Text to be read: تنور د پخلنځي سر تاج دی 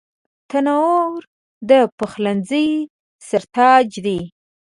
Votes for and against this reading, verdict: 2, 0, accepted